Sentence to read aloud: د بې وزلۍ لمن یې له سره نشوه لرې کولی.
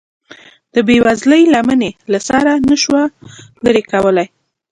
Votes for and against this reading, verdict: 2, 0, accepted